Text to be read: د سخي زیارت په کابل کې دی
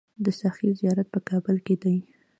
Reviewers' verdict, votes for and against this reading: rejected, 1, 2